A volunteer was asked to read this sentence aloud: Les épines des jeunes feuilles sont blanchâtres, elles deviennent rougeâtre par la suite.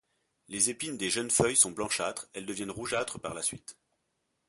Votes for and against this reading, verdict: 2, 0, accepted